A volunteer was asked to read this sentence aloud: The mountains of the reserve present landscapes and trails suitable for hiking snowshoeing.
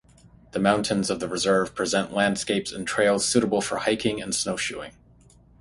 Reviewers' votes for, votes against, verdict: 3, 0, accepted